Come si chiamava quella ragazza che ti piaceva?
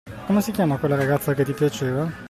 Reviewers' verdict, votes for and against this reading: accepted, 2, 0